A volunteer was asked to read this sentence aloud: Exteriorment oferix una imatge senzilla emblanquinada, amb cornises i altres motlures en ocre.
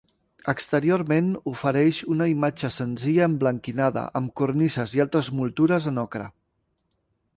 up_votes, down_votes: 1, 2